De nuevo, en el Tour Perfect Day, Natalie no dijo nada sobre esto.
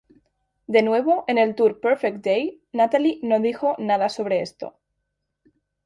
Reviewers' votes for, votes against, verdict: 2, 0, accepted